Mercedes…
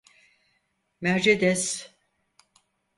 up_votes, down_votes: 2, 4